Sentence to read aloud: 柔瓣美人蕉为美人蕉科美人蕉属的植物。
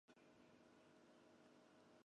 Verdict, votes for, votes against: rejected, 0, 4